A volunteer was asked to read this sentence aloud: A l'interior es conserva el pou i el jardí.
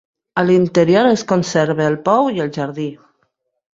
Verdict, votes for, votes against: accepted, 3, 0